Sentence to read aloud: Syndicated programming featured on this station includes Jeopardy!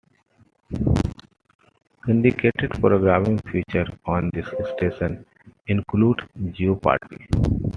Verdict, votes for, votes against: rejected, 0, 2